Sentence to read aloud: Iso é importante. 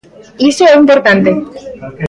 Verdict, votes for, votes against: rejected, 0, 2